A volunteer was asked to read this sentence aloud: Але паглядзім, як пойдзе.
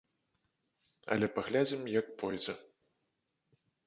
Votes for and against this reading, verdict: 1, 2, rejected